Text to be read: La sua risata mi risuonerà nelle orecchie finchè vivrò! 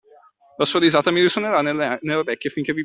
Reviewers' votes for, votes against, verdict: 0, 2, rejected